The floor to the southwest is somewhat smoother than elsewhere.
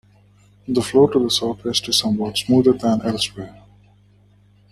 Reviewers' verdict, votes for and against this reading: rejected, 1, 2